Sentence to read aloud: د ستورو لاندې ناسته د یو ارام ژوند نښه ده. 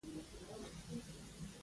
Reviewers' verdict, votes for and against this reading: rejected, 1, 2